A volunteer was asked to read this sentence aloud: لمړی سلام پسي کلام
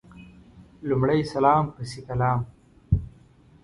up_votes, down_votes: 2, 0